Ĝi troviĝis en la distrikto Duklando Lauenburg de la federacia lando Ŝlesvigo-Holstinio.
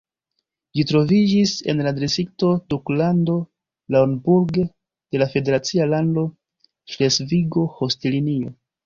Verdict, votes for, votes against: accepted, 2, 0